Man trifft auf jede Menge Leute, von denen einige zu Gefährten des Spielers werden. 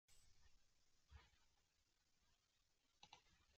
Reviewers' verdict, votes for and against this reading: rejected, 0, 2